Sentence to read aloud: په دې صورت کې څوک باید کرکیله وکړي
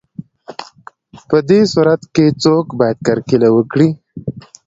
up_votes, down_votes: 2, 0